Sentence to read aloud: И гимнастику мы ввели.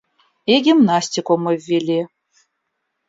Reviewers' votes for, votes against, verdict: 2, 0, accepted